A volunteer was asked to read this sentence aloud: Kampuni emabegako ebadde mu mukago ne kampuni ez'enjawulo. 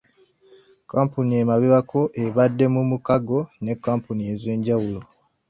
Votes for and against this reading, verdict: 1, 2, rejected